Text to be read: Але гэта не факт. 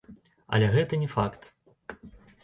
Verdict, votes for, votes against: accepted, 2, 0